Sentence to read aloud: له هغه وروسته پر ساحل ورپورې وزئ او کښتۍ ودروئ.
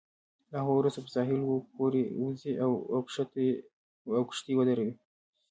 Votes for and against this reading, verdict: 0, 2, rejected